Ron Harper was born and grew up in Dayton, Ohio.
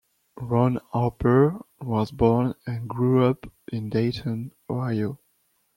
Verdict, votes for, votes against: accepted, 2, 0